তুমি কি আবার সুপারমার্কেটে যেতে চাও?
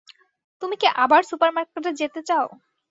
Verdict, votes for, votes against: accepted, 2, 0